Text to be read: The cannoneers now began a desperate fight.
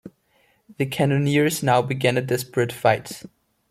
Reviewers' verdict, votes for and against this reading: accepted, 2, 0